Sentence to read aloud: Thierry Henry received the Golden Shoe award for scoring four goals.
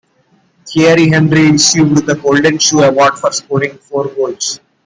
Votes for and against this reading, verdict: 2, 1, accepted